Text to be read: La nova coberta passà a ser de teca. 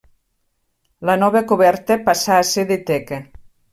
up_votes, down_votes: 3, 1